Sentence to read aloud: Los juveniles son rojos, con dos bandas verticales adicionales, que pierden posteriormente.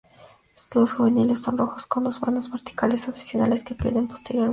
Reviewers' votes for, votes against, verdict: 0, 2, rejected